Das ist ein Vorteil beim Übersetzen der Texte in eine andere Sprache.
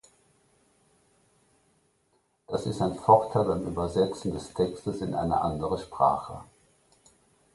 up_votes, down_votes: 0, 2